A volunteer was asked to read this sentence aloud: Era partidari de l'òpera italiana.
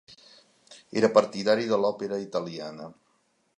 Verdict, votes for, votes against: accepted, 2, 0